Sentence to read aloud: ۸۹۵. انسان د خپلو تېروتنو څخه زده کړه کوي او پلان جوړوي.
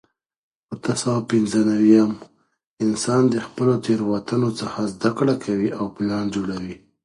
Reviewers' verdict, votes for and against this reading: rejected, 0, 2